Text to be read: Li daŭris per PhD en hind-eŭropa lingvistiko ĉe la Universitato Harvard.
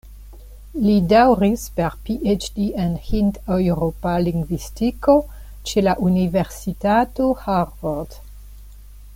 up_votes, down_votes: 0, 2